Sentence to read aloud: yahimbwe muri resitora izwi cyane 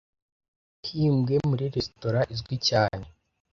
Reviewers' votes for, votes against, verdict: 1, 2, rejected